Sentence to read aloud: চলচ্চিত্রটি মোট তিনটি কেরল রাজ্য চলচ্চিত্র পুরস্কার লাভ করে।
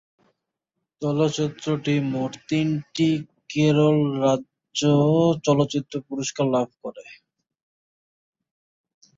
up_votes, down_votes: 0, 2